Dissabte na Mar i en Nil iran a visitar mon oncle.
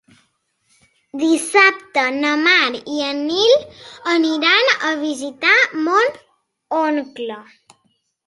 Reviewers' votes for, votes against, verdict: 0, 3, rejected